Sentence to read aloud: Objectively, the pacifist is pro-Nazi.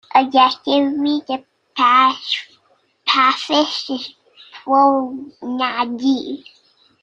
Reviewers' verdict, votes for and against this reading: rejected, 0, 2